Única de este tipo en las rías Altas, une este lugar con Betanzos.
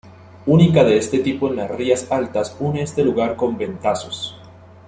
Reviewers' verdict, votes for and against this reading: rejected, 0, 2